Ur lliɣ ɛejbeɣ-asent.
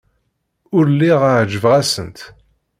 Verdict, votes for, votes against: accepted, 2, 0